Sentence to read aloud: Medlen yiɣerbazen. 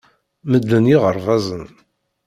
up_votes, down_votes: 2, 0